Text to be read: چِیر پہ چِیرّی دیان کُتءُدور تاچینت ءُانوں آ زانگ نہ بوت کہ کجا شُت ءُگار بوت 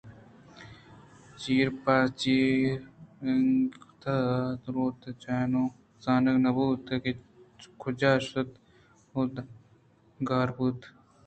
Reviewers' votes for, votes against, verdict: 2, 0, accepted